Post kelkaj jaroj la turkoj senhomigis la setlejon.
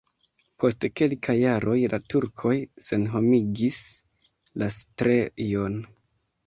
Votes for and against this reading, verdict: 1, 2, rejected